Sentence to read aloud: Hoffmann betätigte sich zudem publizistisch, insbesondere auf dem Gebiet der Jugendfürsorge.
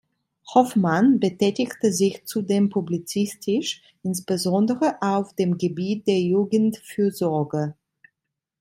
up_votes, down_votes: 2, 0